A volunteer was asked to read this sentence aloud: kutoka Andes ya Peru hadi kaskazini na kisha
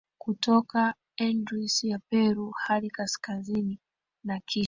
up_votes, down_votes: 2, 1